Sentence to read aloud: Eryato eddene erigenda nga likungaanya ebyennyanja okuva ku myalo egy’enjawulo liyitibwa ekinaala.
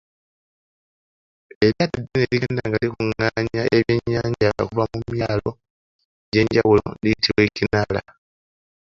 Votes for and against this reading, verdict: 0, 2, rejected